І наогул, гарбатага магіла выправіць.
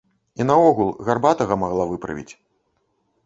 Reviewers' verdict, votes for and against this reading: rejected, 0, 2